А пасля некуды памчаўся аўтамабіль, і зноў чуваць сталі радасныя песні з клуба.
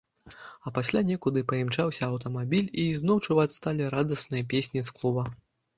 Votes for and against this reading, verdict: 0, 2, rejected